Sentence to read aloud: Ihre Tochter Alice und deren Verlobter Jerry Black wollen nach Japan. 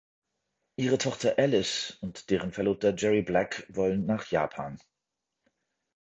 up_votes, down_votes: 2, 0